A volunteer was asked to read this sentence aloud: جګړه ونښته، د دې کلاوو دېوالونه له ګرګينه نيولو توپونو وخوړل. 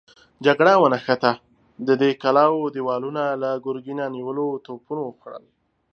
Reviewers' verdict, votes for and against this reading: accepted, 2, 0